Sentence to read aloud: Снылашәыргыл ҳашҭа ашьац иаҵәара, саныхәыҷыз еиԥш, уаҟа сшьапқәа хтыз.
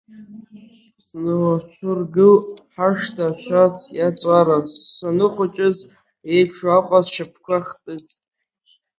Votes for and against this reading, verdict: 1, 5, rejected